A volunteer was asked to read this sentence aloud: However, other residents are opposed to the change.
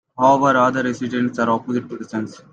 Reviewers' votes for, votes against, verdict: 2, 1, accepted